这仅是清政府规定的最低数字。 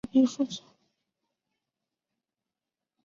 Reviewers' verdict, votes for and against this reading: rejected, 0, 2